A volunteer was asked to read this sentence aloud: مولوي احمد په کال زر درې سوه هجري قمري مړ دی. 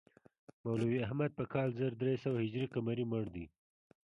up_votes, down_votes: 1, 2